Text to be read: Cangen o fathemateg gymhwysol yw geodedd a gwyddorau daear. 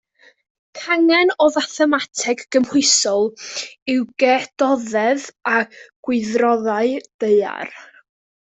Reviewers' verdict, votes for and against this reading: rejected, 0, 2